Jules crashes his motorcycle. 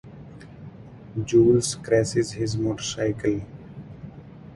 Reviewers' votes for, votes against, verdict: 0, 4, rejected